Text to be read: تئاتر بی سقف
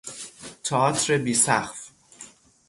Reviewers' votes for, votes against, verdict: 3, 0, accepted